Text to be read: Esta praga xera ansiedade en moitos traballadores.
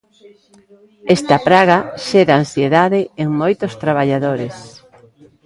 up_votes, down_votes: 0, 2